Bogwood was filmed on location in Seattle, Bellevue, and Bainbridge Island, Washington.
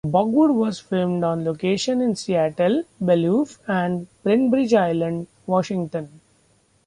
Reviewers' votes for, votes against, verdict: 0, 2, rejected